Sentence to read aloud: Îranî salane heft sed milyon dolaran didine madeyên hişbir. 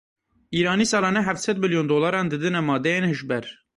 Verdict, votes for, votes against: rejected, 0, 2